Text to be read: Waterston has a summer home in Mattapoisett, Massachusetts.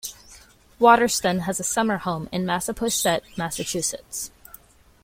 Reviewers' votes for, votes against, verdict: 0, 2, rejected